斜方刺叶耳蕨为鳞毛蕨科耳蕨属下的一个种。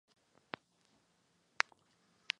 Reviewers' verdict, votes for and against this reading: rejected, 2, 4